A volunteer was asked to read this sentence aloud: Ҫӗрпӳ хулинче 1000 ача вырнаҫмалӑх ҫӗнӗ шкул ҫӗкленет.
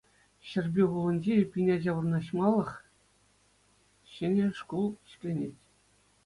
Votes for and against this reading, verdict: 0, 2, rejected